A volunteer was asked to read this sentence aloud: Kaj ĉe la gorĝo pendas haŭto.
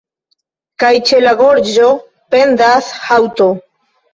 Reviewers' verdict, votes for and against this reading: rejected, 1, 2